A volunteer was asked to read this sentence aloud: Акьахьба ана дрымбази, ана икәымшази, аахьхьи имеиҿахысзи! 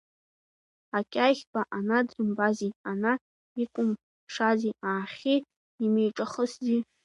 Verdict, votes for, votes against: accepted, 2, 1